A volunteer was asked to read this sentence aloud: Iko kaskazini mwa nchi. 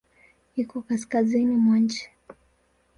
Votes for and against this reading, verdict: 2, 0, accepted